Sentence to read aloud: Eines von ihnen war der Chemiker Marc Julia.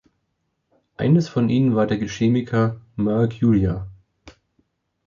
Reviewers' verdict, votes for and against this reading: rejected, 1, 3